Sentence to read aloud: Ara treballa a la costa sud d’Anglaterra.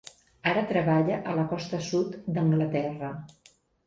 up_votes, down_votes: 2, 0